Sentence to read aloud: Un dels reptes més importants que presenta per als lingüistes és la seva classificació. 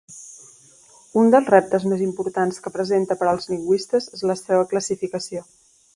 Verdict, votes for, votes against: accepted, 2, 0